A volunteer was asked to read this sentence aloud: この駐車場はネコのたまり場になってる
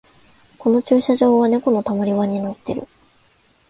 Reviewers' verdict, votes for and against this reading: accepted, 2, 0